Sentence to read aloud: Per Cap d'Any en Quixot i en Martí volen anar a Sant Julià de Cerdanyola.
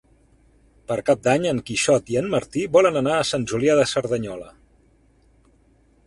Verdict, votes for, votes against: accepted, 2, 0